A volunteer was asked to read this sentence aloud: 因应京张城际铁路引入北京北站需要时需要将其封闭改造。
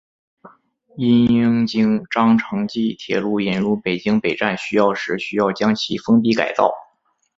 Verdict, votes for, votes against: accepted, 3, 2